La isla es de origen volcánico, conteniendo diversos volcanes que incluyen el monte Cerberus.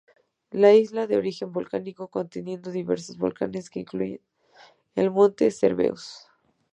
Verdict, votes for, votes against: rejected, 0, 2